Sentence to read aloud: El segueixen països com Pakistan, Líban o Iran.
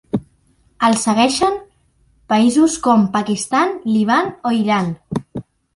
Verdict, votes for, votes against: rejected, 1, 2